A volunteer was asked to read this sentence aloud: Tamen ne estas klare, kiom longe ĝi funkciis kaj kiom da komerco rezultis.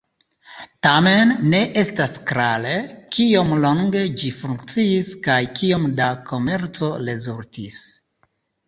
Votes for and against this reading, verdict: 1, 2, rejected